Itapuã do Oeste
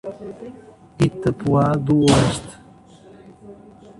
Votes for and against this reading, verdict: 0, 2, rejected